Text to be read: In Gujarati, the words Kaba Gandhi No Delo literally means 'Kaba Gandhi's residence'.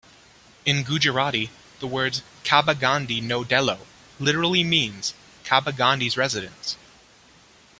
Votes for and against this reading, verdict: 2, 1, accepted